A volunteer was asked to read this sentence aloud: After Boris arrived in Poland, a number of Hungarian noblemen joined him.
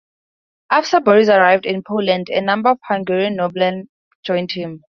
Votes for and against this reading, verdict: 0, 2, rejected